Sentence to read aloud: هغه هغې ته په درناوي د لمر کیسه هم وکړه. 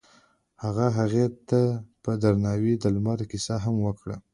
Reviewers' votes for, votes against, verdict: 2, 1, accepted